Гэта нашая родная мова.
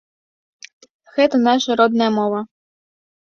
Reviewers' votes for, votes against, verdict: 2, 1, accepted